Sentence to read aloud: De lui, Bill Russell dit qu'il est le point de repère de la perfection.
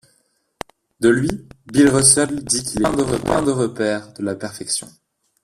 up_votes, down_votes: 1, 2